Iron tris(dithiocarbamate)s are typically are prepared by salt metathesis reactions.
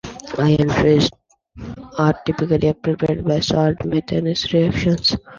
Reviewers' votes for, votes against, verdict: 1, 2, rejected